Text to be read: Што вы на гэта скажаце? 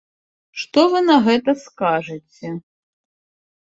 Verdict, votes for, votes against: accepted, 2, 0